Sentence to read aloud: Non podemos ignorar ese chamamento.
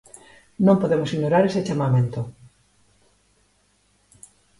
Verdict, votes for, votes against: accepted, 2, 0